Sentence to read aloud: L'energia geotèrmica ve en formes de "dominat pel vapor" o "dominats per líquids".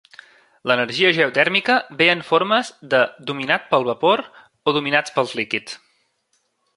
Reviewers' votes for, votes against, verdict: 1, 2, rejected